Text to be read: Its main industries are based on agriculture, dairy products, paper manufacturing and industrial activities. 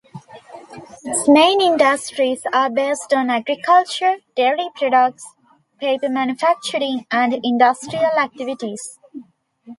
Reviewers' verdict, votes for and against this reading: accepted, 2, 0